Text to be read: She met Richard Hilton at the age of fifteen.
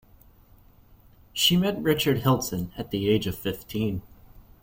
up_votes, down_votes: 2, 1